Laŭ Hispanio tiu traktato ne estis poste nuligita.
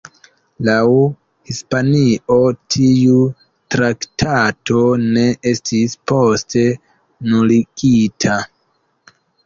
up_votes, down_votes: 2, 1